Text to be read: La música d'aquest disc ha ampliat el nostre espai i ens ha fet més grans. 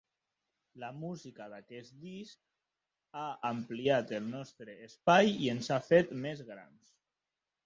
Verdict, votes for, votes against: accepted, 2, 1